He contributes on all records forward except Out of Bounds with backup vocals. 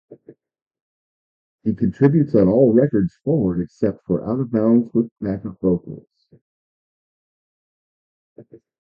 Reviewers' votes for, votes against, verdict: 0, 2, rejected